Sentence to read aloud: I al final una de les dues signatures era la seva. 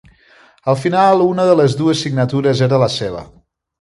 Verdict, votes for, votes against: rejected, 1, 2